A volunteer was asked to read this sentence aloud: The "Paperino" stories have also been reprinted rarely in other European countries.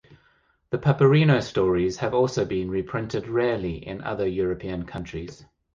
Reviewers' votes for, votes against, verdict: 2, 0, accepted